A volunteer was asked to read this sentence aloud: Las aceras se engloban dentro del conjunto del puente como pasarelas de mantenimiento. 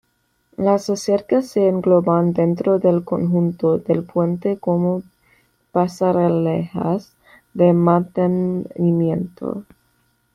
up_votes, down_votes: 1, 2